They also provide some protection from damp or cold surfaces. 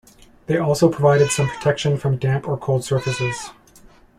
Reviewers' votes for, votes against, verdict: 1, 2, rejected